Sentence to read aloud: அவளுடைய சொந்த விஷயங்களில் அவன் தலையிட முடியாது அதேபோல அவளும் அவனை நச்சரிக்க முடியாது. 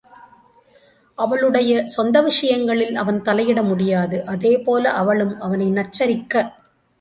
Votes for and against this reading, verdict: 0, 2, rejected